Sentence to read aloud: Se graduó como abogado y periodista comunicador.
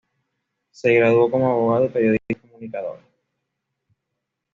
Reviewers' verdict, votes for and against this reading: accepted, 2, 1